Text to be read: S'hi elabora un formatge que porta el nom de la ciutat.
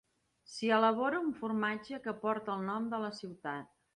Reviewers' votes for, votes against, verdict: 2, 0, accepted